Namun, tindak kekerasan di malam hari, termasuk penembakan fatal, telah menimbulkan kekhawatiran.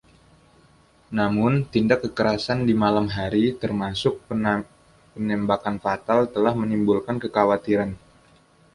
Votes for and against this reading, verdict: 2, 0, accepted